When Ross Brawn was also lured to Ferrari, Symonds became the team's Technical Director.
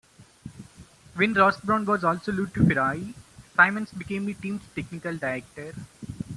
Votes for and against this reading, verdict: 0, 2, rejected